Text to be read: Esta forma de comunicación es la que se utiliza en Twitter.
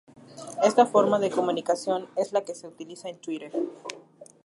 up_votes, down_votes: 2, 0